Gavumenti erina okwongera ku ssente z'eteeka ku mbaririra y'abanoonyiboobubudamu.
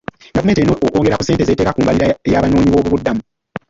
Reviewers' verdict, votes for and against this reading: rejected, 0, 2